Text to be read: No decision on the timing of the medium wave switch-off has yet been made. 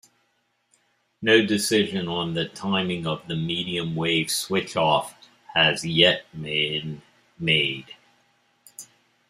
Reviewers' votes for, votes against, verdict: 2, 1, accepted